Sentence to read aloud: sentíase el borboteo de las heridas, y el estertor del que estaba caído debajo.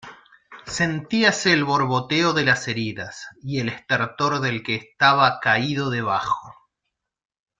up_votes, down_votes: 2, 0